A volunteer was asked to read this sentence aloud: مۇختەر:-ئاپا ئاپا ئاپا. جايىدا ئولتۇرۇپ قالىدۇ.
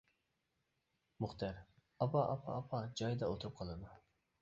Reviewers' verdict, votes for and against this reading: accepted, 2, 0